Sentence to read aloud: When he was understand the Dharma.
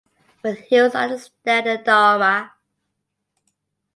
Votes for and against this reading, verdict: 2, 0, accepted